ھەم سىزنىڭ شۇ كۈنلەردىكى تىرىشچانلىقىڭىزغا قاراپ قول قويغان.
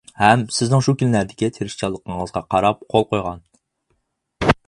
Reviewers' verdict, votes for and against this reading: accepted, 4, 0